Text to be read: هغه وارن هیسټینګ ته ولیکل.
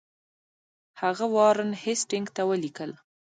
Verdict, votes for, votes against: rejected, 1, 2